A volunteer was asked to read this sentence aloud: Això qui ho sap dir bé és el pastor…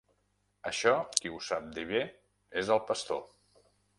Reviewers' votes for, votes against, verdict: 3, 0, accepted